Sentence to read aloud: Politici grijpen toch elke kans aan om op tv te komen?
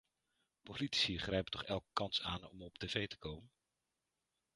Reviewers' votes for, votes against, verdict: 0, 2, rejected